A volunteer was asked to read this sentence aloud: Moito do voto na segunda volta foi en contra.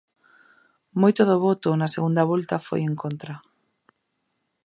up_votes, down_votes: 2, 0